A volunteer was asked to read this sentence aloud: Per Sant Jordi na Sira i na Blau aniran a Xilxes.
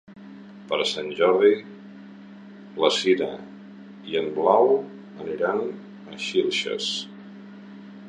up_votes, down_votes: 0, 2